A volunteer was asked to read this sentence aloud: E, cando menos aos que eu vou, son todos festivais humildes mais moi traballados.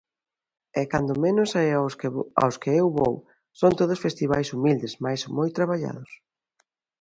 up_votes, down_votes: 0, 2